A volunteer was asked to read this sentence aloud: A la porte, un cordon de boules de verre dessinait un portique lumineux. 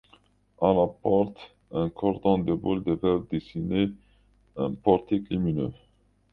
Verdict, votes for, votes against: rejected, 1, 2